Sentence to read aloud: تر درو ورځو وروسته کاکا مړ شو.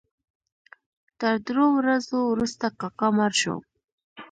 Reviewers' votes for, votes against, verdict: 1, 2, rejected